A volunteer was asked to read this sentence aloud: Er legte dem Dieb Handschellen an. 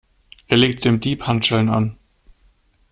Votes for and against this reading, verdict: 0, 2, rejected